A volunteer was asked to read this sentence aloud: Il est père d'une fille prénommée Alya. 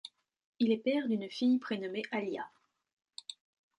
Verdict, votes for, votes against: accepted, 2, 1